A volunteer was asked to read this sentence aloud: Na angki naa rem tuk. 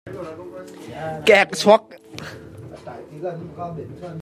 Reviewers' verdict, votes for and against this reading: rejected, 0, 2